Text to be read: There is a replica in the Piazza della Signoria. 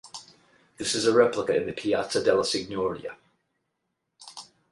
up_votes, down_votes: 0, 8